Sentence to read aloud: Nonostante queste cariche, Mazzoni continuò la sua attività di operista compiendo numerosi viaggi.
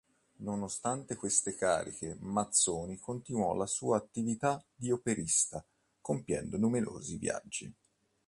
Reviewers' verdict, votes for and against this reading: accepted, 2, 0